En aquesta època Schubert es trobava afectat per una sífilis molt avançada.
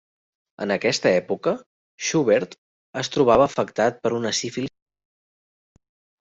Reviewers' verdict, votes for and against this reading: rejected, 0, 2